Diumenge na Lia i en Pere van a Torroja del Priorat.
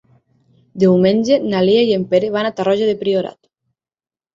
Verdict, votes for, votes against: rejected, 0, 6